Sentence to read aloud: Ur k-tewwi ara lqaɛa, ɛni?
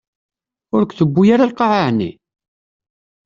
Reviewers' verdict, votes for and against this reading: accepted, 2, 0